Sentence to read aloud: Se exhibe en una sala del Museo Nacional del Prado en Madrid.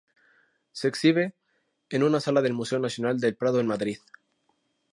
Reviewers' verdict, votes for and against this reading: accepted, 2, 0